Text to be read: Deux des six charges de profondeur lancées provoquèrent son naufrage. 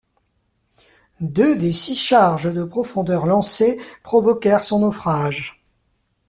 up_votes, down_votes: 2, 0